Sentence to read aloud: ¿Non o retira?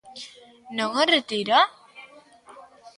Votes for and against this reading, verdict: 2, 0, accepted